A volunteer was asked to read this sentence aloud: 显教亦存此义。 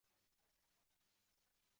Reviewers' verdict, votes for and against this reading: rejected, 1, 4